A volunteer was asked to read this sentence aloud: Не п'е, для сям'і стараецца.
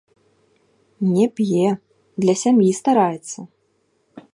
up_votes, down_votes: 0, 2